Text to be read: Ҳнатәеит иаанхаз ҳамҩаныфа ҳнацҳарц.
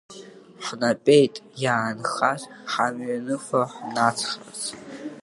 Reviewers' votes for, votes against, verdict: 0, 3, rejected